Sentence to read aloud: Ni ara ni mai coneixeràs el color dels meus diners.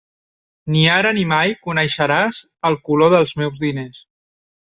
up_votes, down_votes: 3, 0